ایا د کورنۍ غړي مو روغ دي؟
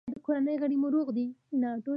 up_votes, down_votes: 2, 0